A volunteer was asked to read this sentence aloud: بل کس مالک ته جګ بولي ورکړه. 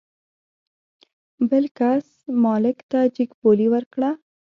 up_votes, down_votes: 2, 0